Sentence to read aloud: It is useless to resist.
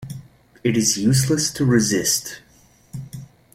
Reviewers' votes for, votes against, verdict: 2, 0, accepted